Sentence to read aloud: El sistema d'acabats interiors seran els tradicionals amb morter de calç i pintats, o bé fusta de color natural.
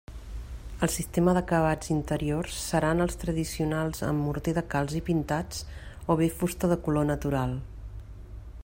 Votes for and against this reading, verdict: 2, 0, accepted